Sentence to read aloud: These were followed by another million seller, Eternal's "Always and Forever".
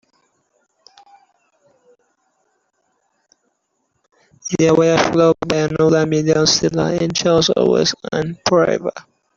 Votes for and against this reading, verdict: 0, 2, rejected